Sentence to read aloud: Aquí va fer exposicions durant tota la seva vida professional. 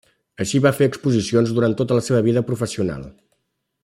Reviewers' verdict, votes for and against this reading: rejected, 0, 2